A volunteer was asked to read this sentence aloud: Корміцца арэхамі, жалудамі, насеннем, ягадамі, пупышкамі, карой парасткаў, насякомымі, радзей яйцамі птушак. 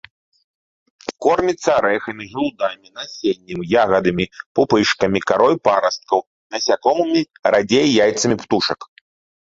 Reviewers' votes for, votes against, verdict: 2, 1, accepted